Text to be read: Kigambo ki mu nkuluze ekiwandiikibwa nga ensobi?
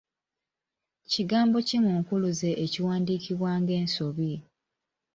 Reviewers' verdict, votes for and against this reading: accepted, 2, 1